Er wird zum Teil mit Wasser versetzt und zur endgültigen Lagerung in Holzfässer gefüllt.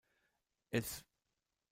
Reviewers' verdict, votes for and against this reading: rejected, 0, 2